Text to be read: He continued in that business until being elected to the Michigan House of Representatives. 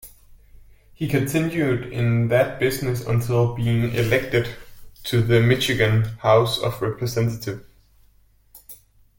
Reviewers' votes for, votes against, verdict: 2, 0, accepted